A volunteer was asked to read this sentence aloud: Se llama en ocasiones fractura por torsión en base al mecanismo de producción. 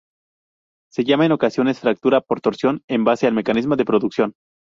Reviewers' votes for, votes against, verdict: 0, 2, rejected